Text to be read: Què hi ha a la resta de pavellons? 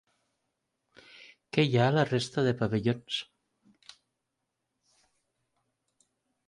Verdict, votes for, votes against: accepted, 3, 0